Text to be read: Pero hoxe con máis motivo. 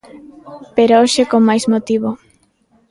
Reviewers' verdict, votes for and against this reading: accepted, 2, 0